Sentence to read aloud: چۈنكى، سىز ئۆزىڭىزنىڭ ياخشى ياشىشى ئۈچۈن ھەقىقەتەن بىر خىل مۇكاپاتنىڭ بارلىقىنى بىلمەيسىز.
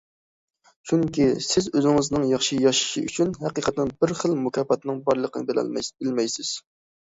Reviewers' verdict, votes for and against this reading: rejected, 0, 2